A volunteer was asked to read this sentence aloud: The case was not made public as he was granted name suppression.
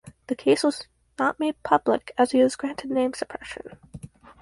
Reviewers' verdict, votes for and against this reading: rejected, 0, 4